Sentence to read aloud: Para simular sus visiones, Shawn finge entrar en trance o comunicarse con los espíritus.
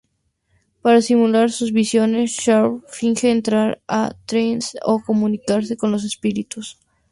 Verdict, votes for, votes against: rejected, 2, 2